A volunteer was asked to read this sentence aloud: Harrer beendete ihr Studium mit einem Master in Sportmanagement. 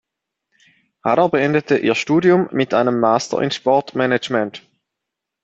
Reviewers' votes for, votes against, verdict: 2, 0, accepted